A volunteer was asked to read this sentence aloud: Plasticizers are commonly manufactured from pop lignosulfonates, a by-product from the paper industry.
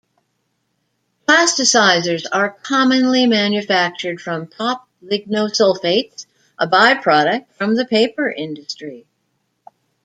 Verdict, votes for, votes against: rejected, 1, 2